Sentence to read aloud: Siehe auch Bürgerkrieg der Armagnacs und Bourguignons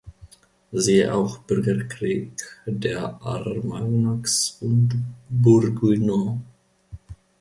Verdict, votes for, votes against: rejected, 0, 2